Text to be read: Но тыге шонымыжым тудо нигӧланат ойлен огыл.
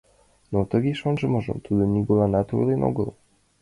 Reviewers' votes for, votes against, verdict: 0, 2, rejected